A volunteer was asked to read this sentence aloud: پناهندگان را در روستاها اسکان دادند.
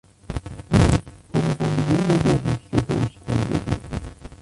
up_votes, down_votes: 0, 2